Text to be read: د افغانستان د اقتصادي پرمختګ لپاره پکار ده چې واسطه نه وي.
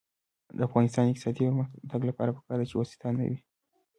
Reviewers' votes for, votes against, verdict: 1, 2, rejected